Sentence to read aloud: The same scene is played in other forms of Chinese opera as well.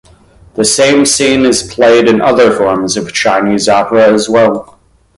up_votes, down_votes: 2, 0